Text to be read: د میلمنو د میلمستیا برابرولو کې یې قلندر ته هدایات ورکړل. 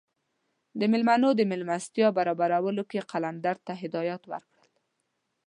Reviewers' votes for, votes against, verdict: 2, 0, accepted